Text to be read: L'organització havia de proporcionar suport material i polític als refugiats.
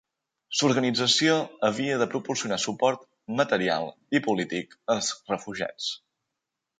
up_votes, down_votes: 3, 0